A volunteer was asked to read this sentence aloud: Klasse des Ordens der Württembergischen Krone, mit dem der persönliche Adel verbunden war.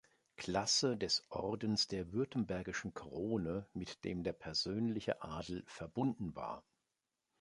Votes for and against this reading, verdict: 2, 0, accepted